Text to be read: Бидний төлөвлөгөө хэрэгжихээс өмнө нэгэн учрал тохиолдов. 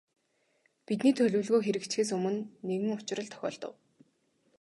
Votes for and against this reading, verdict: 0, 2, rejected